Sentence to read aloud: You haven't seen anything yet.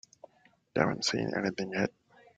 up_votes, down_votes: 1, 2